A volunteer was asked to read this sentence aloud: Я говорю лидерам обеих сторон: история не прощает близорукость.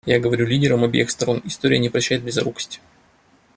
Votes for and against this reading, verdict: 2, 0, accepted